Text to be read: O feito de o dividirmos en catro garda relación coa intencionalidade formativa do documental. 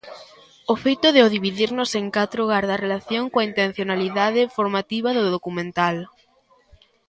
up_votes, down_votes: 0, 2